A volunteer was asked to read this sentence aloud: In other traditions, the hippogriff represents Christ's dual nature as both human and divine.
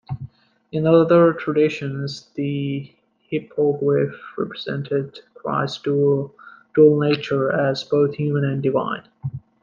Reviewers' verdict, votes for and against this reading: rejected, 1, 2